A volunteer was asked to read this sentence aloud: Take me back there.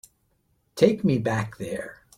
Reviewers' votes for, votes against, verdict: 2, 0, accepted